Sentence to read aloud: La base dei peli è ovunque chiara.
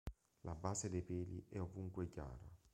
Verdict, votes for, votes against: rejected, 1, 2